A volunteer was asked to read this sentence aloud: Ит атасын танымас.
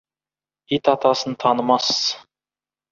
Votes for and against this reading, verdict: 2, 0, accepted